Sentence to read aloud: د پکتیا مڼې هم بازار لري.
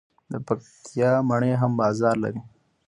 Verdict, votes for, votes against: accepted, 2, 1